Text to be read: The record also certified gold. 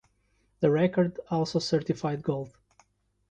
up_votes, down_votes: 2, 0